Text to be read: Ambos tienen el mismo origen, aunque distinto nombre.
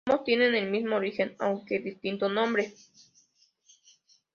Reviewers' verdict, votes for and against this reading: rejected, 1, 3